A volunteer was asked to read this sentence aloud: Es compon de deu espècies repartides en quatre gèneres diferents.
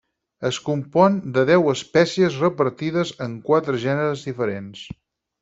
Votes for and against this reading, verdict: 6, 0, accepted